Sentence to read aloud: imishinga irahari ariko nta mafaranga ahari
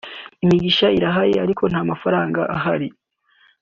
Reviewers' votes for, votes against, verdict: 1, 3, rejected